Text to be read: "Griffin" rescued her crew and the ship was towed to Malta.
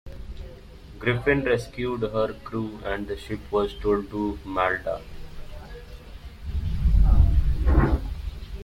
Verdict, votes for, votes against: rejected, 0, 2